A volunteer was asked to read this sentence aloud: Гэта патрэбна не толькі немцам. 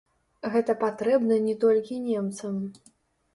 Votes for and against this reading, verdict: 1, 2, rejected